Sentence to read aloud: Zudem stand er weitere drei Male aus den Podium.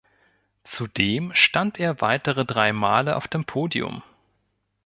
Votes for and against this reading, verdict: 1, 2, rejected